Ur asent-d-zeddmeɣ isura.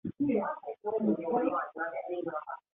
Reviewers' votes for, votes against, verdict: 1, 2, rejected